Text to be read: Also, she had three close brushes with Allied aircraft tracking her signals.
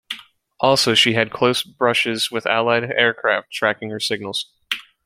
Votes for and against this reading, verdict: 0, 2, rejected